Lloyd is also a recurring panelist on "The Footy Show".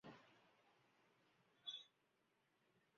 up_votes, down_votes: 0, 2